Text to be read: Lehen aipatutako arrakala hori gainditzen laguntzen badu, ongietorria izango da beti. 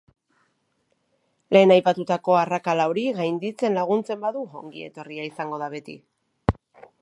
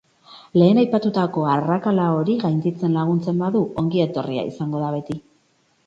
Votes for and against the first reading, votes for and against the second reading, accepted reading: 2, 0, 0, 2, first